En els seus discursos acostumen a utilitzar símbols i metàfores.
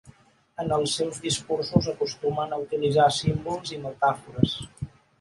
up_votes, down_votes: 7, 0